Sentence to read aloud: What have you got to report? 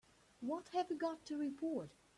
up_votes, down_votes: 1, 2